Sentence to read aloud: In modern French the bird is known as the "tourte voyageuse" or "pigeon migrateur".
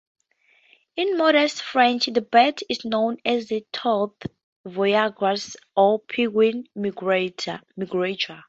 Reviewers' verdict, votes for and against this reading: rejected, 0, 4